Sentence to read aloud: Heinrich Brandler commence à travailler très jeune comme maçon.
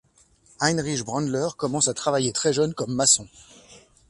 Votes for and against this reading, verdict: 2, 0, accepted